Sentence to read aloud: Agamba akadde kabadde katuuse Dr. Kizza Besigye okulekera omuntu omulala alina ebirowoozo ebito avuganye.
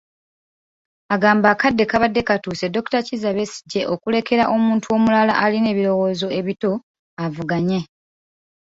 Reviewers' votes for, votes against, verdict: 3, 0, accepted